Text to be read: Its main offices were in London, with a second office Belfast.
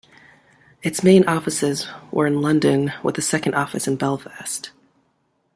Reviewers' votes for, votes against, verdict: 2, 0, accepted